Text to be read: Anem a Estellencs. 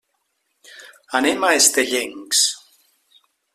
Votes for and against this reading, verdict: 1, 2, rejected